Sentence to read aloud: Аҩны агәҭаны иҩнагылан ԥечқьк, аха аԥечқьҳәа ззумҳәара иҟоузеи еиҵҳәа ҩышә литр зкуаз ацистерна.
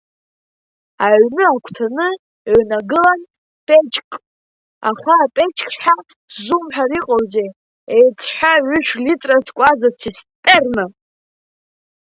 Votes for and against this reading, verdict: 0, 2, rejected